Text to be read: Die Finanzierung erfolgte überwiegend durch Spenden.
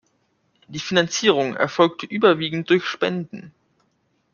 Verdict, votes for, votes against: accepted, 2, 0